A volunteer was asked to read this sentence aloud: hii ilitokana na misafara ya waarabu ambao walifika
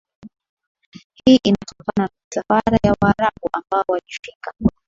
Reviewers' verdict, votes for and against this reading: accepted, 2, 1